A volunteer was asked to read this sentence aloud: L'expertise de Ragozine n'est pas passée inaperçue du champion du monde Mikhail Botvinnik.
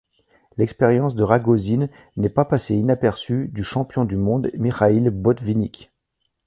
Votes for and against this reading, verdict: 2, 1, accepted